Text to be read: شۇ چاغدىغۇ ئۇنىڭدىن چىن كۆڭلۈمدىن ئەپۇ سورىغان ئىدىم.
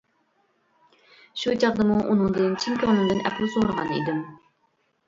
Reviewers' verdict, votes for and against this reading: rejected, 0, 2